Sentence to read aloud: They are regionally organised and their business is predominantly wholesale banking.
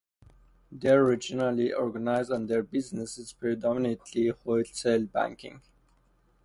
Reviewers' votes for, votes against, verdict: 0, 2, rejected